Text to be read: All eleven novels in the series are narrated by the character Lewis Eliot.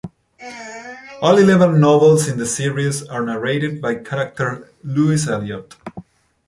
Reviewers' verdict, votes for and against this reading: rejected, 0, 2